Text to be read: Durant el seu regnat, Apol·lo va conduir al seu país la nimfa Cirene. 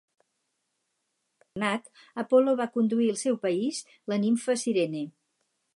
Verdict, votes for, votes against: rejected, 0, 4